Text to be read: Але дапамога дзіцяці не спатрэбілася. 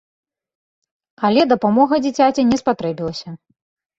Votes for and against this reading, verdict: 3, 0, accepted